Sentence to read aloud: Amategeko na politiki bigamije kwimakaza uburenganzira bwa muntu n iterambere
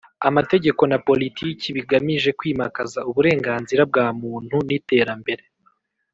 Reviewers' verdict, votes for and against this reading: accepted, 3, 0